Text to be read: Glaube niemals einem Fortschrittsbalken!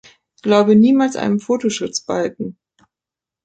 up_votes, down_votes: 0, 2